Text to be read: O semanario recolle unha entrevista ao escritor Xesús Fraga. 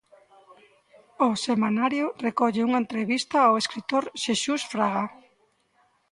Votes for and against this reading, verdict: 1, 2, rejected